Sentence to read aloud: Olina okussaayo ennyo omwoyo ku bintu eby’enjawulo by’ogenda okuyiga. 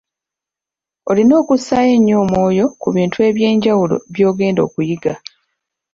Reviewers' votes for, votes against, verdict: 2, 1, accepted